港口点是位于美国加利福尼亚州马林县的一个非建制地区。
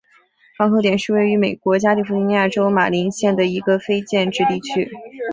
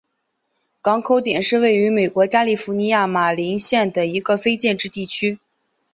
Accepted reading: first